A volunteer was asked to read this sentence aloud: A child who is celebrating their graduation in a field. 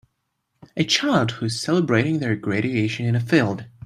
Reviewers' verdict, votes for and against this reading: rejected, 1, 2